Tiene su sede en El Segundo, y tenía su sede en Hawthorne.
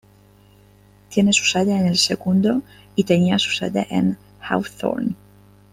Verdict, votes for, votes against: accepted, 2, 1